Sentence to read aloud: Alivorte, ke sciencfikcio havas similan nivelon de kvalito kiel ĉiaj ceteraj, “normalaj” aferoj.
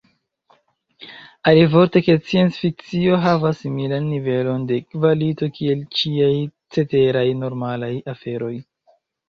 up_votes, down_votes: 2, 0